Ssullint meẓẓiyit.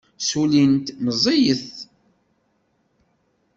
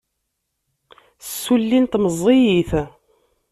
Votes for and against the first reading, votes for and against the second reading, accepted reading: 1, 2, 2, 1, second